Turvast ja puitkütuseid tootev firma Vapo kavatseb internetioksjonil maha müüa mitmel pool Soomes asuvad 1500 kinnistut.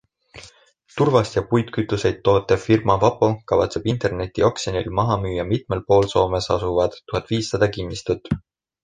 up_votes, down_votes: 0, 2